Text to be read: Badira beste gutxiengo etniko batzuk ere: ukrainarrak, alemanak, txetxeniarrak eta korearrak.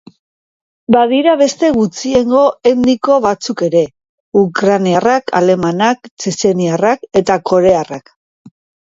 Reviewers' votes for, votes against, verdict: 1, 2, rejected